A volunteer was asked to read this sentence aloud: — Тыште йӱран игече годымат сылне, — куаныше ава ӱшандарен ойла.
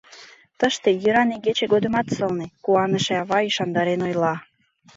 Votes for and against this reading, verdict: 2, 0, accepted